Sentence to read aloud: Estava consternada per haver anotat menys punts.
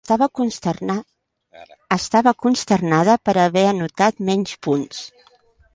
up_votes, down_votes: 0, 2